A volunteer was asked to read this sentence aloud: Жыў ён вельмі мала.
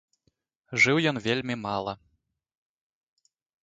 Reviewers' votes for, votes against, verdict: 2, 0, accepted